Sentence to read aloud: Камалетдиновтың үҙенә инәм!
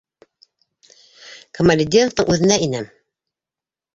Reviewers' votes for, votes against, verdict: 2, 0, accepted